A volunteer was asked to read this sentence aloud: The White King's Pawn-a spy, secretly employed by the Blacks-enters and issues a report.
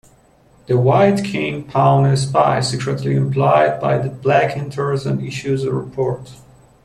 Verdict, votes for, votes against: rejected, 0, 2